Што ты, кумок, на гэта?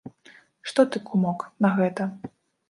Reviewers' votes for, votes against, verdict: 2, 0, accepted